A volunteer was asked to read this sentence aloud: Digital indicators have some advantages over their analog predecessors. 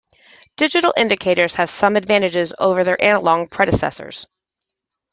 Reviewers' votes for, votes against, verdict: 2, 1, accepted